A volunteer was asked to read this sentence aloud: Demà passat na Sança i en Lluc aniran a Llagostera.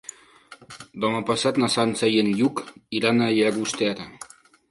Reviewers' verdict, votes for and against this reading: rejected, 0, 2